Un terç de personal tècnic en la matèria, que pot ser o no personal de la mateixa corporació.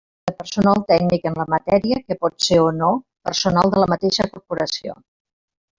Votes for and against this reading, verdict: 0, 2, rejected